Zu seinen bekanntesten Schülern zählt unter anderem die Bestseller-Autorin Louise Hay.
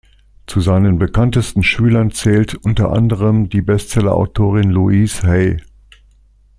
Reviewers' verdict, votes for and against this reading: accepted, 2, 0